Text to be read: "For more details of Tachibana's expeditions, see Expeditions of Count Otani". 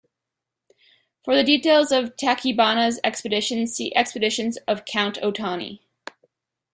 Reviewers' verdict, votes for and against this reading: rejected, 0, 2